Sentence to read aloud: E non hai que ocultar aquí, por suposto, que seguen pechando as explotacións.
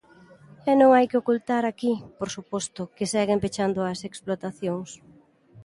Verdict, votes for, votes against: accepted, 2, 0